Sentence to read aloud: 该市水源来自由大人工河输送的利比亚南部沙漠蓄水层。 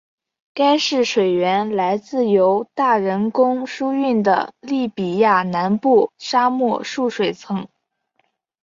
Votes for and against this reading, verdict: 0, 2, rejected